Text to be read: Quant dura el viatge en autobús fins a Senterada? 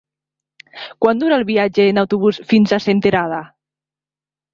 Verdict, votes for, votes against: accepted, 2, 0